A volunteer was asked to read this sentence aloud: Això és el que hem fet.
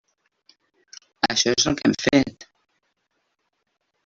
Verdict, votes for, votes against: rejected, 0, 2